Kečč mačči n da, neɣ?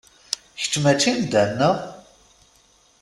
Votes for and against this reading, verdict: 2, 0, accepted